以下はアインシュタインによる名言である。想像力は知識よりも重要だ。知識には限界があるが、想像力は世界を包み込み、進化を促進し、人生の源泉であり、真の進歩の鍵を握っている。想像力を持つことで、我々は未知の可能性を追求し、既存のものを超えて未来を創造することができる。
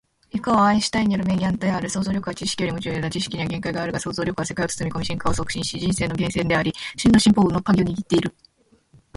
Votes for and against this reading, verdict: 0, 2, rejected